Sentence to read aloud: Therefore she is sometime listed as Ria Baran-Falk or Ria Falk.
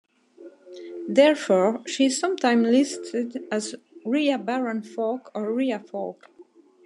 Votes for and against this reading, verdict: 2, 0, accepted